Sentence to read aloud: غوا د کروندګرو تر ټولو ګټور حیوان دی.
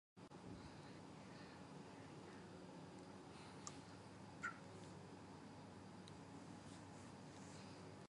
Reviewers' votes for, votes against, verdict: 0, 2, rejected